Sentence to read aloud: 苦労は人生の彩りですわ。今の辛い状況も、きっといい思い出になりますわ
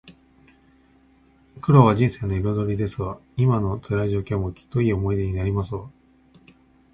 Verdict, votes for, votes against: rejected, 0, 2